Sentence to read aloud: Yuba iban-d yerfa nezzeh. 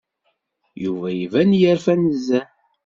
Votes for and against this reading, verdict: 0, 2, rejected